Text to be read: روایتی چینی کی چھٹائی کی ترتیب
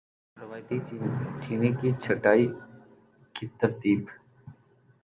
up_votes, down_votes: 0, 2